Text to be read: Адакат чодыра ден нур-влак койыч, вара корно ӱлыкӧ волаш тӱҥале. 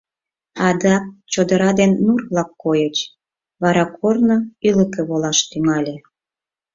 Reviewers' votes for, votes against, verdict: 0, 4, rejected